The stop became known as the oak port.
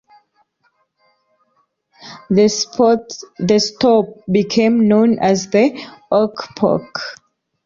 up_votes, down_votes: 0, 2